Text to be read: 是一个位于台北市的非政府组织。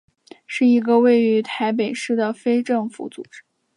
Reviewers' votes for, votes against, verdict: 2, 0, accepted